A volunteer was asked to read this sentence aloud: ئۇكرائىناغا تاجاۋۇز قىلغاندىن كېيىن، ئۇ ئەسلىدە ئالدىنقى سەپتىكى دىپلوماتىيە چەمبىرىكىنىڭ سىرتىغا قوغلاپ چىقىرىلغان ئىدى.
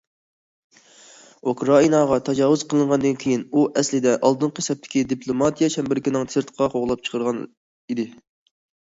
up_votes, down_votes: 1, 2